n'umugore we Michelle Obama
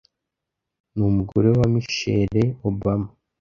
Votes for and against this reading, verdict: 1, 2, rejected